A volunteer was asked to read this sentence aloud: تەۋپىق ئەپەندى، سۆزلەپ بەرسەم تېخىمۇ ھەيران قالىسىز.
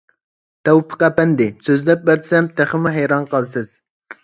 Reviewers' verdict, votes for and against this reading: accepted, 2, 0